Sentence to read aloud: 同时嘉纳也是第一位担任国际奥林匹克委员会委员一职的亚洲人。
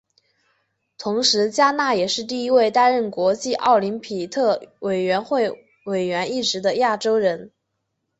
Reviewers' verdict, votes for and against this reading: rejected, 2, 2